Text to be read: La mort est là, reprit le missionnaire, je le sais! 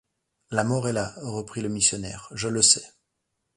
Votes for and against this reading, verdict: 2, 0, accepted